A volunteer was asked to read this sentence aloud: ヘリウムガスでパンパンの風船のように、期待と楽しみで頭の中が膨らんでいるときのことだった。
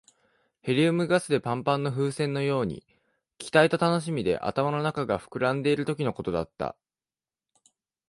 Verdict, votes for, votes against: accepted, 2, 0